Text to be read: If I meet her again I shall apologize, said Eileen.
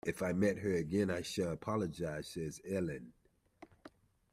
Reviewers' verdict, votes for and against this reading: accepted, 2, 0